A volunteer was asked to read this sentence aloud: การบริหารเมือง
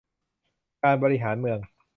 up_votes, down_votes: 2, 0